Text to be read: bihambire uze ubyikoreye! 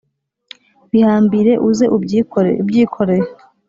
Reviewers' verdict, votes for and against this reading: rejected, 0, 2